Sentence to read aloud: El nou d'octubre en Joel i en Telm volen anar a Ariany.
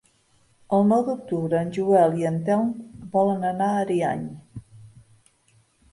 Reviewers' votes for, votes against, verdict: 3, 0, accepted